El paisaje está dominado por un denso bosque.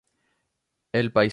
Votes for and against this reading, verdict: 0, 2, rejected